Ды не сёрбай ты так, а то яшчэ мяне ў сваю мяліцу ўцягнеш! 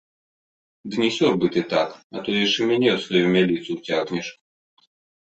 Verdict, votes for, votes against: accepted, 2, 0